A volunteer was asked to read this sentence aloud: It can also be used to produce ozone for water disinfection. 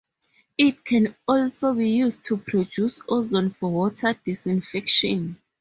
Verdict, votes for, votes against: rejected, 0, 2